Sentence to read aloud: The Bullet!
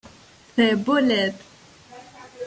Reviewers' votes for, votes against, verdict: 1, 2, rejected